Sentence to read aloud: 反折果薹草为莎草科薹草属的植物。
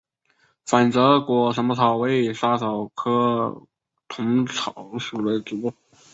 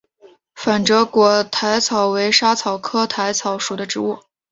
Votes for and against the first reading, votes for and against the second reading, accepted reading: 0, 2, 2, 0, second